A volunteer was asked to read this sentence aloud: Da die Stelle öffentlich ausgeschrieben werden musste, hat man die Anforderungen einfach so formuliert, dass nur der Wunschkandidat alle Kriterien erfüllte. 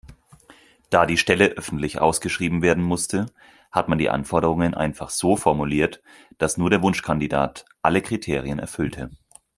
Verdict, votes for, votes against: accepted, 4, 0